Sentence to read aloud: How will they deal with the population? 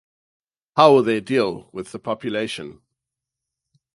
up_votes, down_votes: 2, 2